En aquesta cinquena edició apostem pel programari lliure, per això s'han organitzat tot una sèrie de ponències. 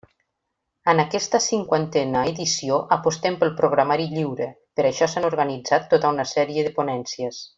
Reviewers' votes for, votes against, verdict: 0, 2, rejected